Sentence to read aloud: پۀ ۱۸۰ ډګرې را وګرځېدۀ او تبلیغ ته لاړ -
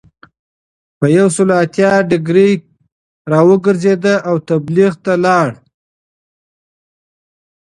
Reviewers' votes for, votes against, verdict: 0, 2, rejected